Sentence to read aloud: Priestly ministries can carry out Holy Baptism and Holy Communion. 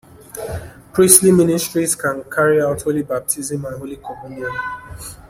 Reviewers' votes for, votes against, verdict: 0, 2, rejected